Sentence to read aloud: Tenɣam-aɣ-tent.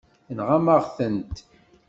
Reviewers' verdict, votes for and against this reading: accepted, 2, 0